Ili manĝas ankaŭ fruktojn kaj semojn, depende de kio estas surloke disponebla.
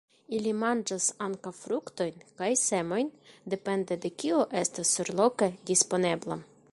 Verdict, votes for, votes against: rejected, 1, 2